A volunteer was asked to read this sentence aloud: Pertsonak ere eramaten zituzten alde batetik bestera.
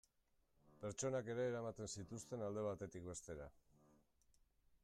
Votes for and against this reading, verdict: 2, 0, accepted